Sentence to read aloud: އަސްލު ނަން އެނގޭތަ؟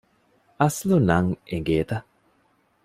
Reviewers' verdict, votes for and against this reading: accepted, 2, 0